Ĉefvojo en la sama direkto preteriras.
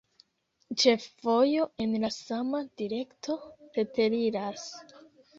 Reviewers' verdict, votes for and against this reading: rejected, 1, 2